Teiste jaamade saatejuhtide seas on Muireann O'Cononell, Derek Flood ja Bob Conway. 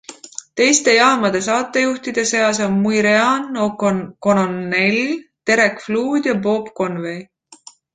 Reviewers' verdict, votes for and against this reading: rejected, 0, 2